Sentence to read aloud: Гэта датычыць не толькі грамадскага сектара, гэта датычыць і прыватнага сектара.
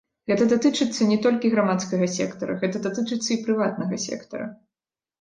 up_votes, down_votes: 0, 2